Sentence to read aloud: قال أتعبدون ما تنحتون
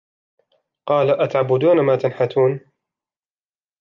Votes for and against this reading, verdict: 0, 2, rejected